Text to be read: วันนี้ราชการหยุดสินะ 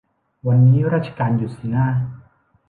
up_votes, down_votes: 3, 0